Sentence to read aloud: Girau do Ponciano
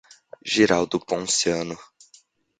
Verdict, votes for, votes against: accepted, 2, 0